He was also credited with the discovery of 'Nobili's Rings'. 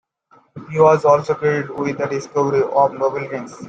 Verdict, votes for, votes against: rejected, 0, 2